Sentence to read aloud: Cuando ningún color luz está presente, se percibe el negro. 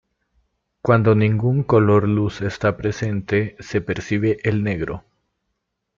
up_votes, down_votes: 2, 0